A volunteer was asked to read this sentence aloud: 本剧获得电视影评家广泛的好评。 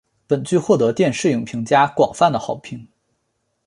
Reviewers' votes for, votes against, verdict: 2, 0, accepted